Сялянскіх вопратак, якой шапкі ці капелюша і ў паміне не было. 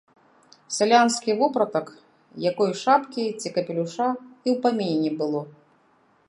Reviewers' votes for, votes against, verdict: 0, 2, rejected